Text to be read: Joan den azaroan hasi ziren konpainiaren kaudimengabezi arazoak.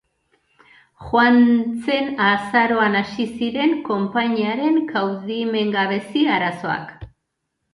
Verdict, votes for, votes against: rejected, 0, 3